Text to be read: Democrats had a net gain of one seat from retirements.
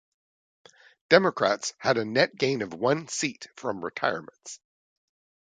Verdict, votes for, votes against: accepted, 2, 0